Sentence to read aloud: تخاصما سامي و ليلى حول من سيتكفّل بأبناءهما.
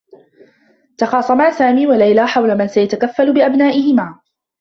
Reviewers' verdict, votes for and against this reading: rejected, 0, 2